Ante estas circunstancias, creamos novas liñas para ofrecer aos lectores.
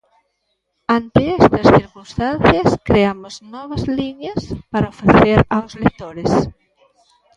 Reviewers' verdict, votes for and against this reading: accepted, 2, 0